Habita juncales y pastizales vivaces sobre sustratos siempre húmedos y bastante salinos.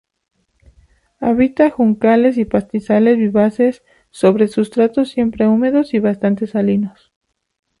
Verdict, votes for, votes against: accepted, 2, 0